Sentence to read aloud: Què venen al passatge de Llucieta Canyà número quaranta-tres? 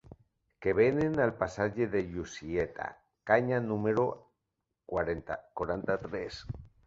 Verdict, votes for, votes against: rejected, 0, 2